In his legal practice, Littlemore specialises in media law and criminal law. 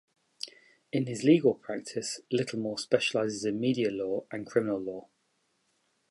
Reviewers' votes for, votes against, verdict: 2, 0, accepted